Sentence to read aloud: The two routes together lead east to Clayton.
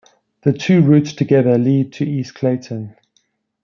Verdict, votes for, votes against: rejected, 1, 2